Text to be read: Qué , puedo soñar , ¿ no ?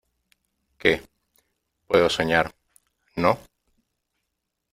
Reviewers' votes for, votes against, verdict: 2, 0, accepted